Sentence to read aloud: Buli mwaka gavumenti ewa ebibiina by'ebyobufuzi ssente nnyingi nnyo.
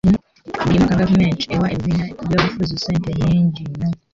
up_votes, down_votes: 0, 2